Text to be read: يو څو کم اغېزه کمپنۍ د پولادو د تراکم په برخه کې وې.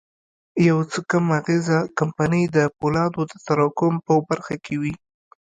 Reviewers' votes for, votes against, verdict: 1, 2, rejected